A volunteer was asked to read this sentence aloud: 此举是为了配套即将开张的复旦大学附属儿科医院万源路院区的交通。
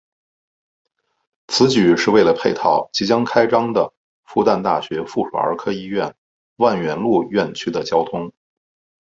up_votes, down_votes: 2, 0